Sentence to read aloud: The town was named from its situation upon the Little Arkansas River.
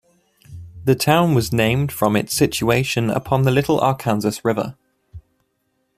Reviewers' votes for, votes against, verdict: 3, 0, accepted